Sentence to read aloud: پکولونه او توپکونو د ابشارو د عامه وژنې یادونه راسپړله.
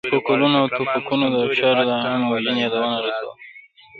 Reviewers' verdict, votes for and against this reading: rejected, 0, 2